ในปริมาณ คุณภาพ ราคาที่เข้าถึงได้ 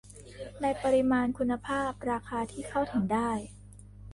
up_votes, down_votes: 2, 1